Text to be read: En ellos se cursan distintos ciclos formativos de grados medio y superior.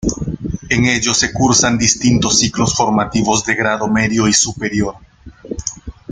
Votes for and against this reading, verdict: 1, 2, rejected